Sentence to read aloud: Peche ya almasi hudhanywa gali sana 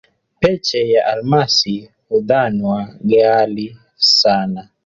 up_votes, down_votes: 3, 1